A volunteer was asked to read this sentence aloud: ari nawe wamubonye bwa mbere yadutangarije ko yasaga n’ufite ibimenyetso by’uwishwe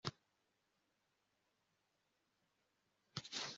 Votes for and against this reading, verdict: 1, 2, rejected